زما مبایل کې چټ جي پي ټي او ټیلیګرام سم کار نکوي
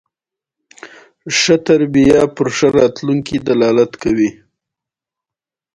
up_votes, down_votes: 1, 2